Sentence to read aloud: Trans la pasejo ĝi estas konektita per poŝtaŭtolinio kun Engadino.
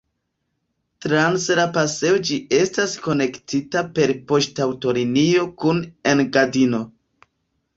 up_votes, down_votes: 2, 0